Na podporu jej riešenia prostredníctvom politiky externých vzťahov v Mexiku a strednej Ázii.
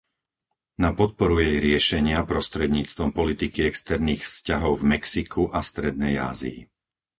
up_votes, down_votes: 4, 0